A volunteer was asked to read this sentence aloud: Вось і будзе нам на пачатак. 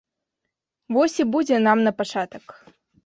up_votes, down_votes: 2, 0